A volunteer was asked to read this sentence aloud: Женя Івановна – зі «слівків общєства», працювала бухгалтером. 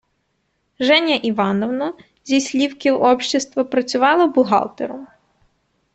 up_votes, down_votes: 2, 0